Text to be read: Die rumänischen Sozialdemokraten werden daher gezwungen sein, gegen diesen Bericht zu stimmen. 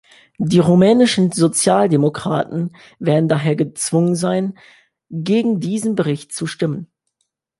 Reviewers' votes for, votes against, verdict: 2, 0, accepted